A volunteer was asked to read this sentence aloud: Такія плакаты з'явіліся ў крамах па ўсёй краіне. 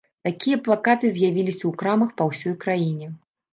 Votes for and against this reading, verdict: 1, 2, rejected